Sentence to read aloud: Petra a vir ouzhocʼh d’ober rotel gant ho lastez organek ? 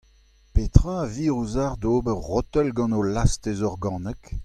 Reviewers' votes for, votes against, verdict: 2, 1, accepted